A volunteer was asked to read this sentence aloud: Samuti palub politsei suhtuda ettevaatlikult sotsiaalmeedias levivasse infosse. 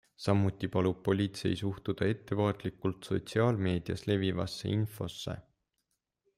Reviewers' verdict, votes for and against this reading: accepted, 2, 0